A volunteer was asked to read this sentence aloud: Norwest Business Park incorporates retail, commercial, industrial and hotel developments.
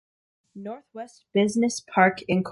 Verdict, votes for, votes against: rejected, 0, 2